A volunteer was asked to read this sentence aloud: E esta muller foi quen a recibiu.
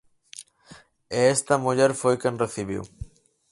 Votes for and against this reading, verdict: 0, 4, rejected